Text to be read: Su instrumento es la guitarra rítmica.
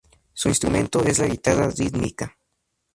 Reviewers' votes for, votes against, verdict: 0, 2, rejected